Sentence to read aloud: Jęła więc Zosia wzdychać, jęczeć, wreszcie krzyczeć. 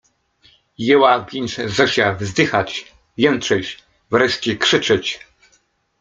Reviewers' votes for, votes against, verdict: 2, 1, accepted